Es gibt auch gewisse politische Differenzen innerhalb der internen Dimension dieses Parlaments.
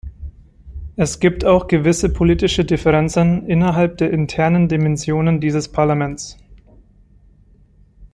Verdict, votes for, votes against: rejected, 0, 2